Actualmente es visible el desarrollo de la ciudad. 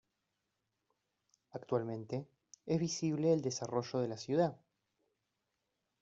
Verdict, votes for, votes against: rejected, 1, 2